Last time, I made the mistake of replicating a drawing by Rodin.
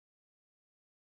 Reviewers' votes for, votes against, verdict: 0, 2, rejected